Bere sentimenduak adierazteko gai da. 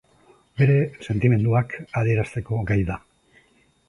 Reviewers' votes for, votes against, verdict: 2, 0, accepted